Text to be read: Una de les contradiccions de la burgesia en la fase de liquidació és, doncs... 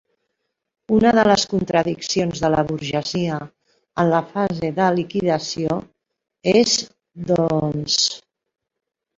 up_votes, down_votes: 3, 0